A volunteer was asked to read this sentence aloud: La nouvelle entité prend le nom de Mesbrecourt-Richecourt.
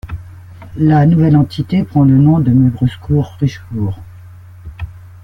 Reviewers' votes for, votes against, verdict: 1, 2, rejected